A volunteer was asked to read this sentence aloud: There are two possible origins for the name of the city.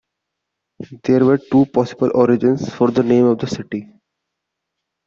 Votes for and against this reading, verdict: 2, 0, accepted